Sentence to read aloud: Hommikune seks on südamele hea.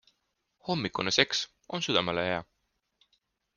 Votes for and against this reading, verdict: 2, 0, accepted